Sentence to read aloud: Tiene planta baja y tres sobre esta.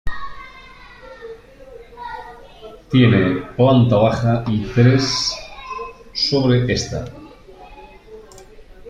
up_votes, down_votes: 1, 2